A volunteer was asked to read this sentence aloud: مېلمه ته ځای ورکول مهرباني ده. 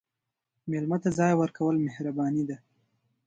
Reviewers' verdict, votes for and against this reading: accepted, 2, 0